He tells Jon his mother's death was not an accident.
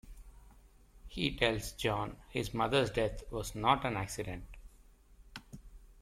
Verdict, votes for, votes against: accepted, 2, 0